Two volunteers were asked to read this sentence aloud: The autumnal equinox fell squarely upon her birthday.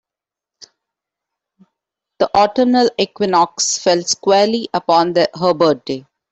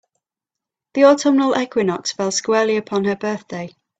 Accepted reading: second